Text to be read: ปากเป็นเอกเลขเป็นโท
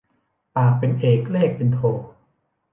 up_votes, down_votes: 2, 0